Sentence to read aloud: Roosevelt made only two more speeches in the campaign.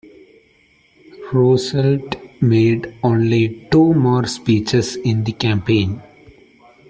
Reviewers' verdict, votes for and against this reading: accepted, 2, 0